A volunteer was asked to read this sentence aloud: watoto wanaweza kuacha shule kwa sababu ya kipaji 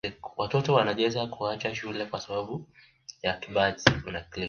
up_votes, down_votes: 2, 0